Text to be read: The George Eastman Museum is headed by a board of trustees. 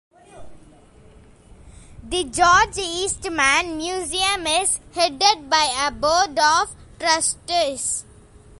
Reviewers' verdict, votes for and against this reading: accepted, 2, 0